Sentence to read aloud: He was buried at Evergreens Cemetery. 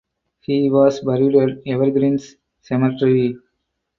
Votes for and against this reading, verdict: 4, 0, accepted